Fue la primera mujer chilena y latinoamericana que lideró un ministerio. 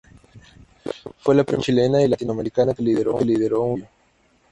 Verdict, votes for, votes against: rejected, 0, 2